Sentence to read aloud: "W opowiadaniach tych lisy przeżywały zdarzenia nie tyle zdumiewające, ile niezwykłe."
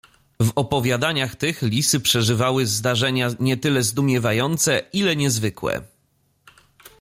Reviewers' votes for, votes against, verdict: 2, 0, accepted